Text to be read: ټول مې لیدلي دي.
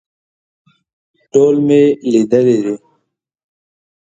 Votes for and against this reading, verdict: 2, 0, accepted